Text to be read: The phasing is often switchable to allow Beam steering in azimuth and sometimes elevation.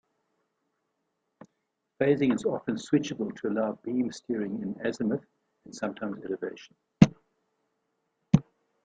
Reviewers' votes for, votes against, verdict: 1, 2, rejected